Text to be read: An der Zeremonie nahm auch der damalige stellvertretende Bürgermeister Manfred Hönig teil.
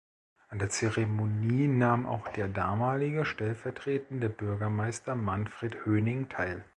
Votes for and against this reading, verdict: 0, 2, rejected